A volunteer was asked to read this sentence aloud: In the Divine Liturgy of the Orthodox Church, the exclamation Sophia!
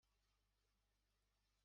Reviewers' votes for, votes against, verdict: 0, 2, rejected